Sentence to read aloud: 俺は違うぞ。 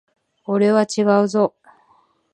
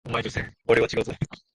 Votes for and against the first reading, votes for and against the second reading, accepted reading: 2, 0, 0, 2, first